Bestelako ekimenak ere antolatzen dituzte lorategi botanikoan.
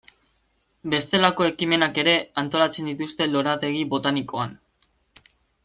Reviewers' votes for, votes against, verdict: 2, 0, accepted